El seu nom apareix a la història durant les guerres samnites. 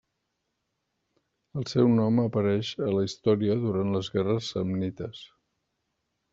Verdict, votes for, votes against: rejected, 1, 2